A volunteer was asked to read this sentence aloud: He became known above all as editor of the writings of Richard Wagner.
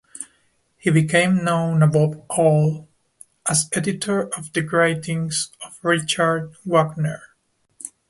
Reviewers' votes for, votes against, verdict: 1, 2, rejected